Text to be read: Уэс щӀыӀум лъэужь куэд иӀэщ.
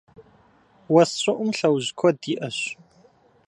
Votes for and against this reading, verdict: 2, 0, accepted